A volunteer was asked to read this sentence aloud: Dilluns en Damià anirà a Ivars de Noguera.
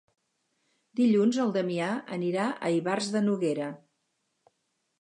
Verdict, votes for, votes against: rejected, 0, 2